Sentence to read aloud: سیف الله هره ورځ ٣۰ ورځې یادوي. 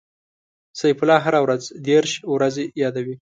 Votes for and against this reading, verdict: 0, 2, rejected